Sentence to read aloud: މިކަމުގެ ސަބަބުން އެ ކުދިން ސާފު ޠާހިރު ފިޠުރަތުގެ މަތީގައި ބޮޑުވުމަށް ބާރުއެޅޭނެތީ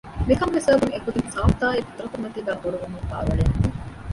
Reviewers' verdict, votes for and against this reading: rejected, 1, 2